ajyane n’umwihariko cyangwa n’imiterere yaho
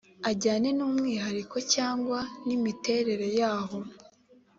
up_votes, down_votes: 2, 0